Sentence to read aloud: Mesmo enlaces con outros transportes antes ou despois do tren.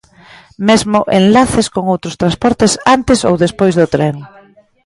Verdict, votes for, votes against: rejected, 0, 2